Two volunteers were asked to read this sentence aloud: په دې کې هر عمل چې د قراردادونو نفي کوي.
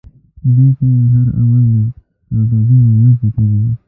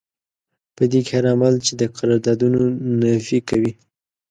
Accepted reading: second